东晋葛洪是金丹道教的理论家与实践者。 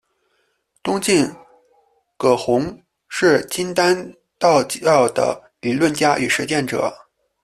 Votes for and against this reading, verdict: 2, 0, accepted